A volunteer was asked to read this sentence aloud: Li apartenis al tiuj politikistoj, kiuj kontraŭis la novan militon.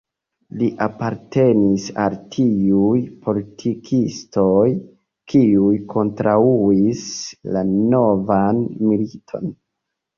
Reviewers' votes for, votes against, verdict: 2, 0, accepted